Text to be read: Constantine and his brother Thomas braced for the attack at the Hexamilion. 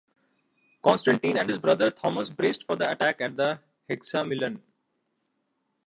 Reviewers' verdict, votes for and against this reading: rejected, 1, 2